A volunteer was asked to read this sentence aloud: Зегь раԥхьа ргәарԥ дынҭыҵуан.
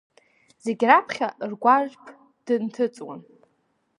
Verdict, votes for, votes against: rejected, 1, 2